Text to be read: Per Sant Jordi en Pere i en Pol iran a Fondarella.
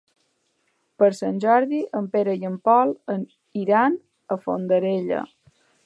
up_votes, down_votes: 0, 2